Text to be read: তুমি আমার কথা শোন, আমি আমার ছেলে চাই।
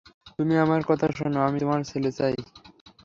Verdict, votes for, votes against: accepted, 3, 0